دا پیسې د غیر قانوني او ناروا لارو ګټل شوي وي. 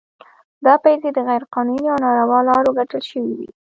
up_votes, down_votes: 1, 2